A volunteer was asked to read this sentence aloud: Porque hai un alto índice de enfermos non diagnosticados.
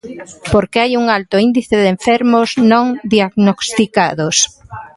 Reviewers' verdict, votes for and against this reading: rejected, 0, 2